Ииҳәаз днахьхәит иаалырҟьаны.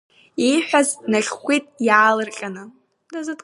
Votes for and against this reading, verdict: 1, 2, rejected